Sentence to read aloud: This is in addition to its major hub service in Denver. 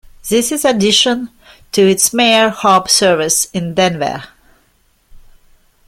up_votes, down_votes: 0, 2